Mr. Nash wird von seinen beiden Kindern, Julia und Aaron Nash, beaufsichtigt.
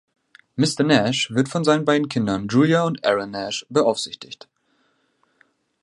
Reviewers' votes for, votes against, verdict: 2, 0, accepted